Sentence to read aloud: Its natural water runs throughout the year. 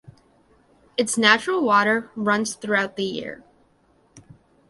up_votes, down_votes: 2, 0